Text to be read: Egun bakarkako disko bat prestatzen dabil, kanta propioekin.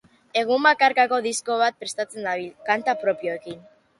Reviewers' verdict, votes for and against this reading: accepted, 2, 0